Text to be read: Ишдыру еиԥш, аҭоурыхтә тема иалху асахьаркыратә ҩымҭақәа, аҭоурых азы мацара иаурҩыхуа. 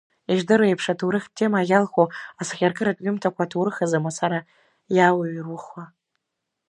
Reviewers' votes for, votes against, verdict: 2, 0, accepted